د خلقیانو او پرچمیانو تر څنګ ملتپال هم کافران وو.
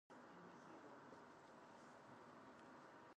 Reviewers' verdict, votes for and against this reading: rejected, 0, 4